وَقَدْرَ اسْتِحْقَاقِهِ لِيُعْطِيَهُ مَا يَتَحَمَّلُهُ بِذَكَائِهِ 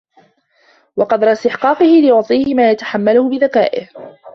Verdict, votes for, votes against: accepted, 2, 1